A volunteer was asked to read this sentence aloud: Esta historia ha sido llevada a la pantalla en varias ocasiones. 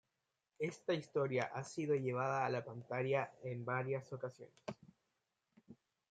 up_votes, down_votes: 2, 0